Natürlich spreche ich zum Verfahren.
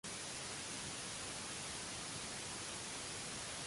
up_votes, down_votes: 0, 3